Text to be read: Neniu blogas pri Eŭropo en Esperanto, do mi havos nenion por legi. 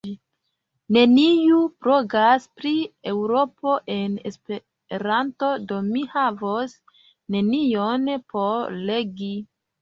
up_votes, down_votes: 1, 2